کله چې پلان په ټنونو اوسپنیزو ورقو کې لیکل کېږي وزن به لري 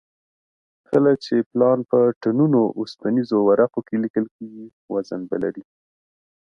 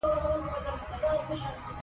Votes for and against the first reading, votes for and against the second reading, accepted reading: 2, 0, 0, 2, first